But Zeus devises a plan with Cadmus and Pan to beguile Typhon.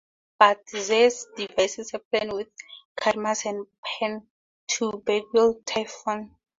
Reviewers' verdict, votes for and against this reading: accepted, 2, 0